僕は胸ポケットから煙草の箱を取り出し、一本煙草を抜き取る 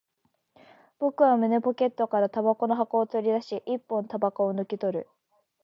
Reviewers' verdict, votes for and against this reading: accepted, 2, 0